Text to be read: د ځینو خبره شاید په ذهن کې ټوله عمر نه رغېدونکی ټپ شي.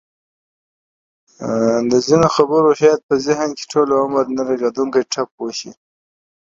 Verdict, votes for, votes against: accepted, 2, 0